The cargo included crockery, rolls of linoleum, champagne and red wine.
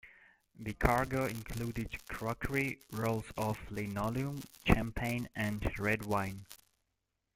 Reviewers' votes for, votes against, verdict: 3, 1, accepted